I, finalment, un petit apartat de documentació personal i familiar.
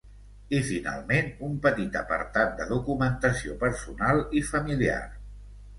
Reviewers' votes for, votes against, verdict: 2, 0, accepted